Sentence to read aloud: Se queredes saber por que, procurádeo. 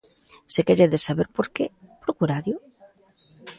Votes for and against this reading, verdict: 2, 0, accepted